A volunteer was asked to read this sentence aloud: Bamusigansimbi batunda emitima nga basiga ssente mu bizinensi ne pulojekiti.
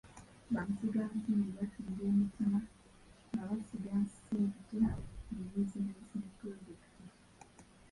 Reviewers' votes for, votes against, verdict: 1, 3, rejected